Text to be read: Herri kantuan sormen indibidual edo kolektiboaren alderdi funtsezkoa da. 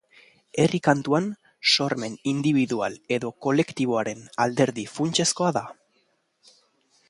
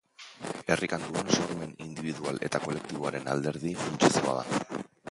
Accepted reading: first